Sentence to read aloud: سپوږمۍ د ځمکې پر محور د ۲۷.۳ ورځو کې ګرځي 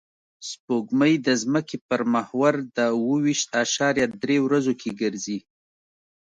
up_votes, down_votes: 0, 2